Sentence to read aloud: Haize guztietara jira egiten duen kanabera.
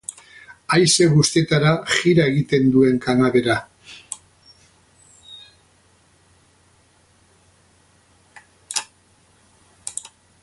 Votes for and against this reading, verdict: 0, 4, rejected